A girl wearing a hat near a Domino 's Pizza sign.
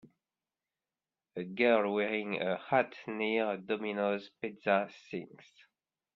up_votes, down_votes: 1, 2